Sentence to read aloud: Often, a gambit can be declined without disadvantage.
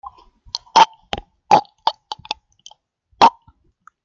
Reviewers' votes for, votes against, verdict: 0, 2, rejected